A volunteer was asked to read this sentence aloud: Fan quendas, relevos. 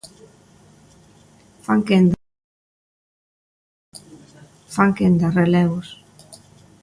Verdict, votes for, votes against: rejected, 0, 2